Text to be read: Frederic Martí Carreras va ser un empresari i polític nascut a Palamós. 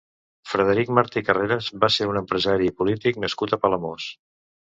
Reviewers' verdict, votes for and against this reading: accepted, 2, 0